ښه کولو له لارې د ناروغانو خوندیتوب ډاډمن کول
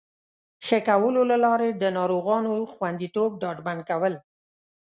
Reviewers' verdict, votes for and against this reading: rejected, 1, 2